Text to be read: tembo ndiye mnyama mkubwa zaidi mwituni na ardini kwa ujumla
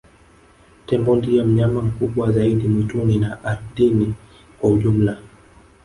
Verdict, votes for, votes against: accepted, 3, 1